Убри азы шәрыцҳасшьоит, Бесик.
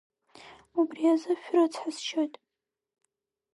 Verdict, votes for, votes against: rejected, 2, 3